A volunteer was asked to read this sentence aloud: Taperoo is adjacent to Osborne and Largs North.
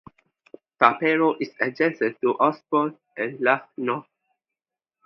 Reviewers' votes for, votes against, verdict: 2, 0, accepted